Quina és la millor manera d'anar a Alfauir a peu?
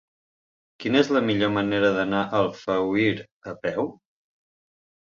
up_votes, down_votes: 3, 0